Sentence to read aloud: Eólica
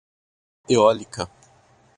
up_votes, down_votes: 0, 2